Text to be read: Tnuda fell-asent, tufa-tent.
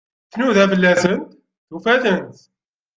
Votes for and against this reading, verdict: 1, 2, rejected